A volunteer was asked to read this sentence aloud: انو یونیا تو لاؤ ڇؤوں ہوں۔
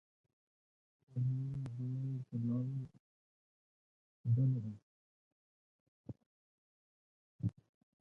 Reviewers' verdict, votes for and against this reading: rejected, 0, 2